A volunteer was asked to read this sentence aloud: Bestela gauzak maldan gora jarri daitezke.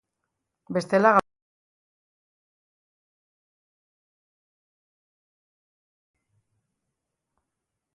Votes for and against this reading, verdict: 0, 2, rejected